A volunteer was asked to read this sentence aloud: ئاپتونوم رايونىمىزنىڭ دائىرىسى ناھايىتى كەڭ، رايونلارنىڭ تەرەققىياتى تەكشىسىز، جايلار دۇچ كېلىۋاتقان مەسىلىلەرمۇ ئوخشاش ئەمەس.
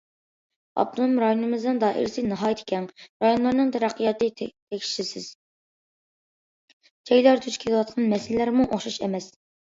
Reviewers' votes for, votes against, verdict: 1, 2, rejected